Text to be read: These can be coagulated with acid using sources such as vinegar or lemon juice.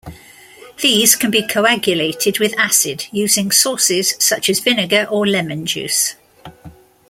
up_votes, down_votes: 2, 0